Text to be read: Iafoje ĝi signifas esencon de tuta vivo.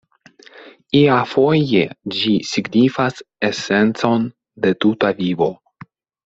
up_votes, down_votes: 2, 0